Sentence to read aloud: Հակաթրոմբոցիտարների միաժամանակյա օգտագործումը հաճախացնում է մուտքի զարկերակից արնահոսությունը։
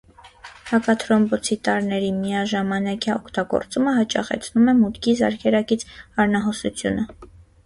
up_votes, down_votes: 0, 2